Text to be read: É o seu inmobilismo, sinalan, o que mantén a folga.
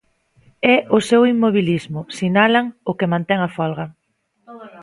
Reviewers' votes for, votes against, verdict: 1, 2, rejected